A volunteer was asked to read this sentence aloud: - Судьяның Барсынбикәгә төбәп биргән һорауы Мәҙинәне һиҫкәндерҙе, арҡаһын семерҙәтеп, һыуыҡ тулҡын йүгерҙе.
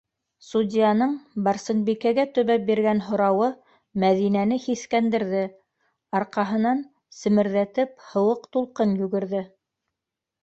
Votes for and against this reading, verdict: 0, 2, rejected